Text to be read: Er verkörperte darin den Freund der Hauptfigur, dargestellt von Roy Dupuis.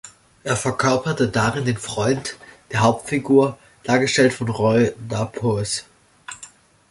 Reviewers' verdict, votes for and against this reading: accepted, 2, 1